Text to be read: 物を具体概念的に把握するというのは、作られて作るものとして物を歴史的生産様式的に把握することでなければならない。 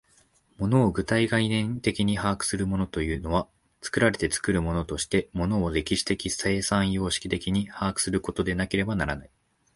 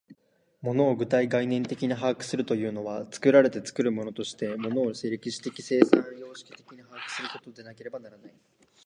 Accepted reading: first